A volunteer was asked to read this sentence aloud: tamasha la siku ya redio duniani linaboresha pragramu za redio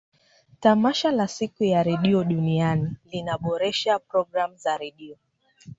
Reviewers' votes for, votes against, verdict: 2, 0, accepted